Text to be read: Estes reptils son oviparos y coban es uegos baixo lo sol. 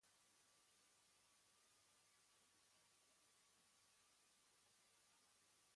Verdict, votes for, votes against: rejected, 1, 2